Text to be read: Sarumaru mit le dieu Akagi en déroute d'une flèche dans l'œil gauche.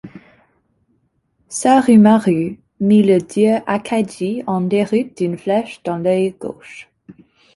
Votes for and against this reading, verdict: 2, 0, accepted